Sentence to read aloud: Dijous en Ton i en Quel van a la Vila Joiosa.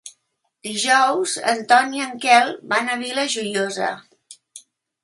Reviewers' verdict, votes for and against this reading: rejected, 0, 2